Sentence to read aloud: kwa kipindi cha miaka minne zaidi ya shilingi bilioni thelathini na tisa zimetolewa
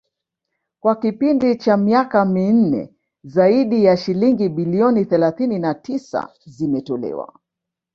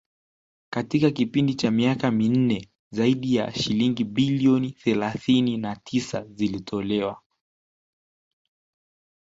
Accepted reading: second